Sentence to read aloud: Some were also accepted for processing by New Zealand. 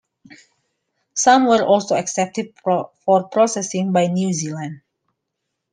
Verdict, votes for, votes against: accepted, 2, 0